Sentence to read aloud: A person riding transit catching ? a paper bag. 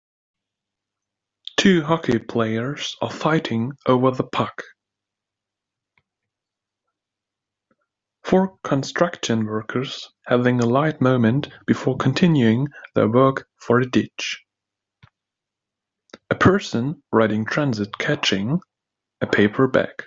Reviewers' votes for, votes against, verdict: 2, 4, rejected